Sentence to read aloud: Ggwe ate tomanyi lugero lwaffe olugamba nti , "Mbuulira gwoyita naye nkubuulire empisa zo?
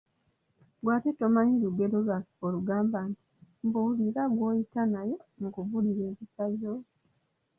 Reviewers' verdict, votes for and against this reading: accepted, 2, 0